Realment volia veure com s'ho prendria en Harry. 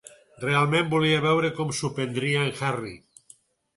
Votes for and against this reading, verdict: 4, 0, accepted